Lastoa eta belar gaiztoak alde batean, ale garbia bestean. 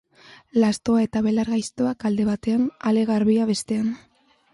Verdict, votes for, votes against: accepted, 2, 0